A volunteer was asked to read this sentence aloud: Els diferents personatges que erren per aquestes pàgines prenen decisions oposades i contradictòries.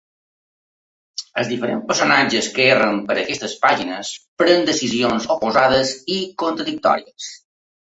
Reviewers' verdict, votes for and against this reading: accepted, 2, 0